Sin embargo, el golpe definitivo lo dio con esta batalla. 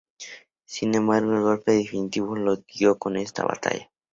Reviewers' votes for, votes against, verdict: 2, 0, accepted